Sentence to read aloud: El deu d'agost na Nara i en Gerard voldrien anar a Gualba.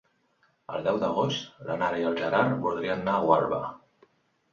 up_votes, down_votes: 0, 2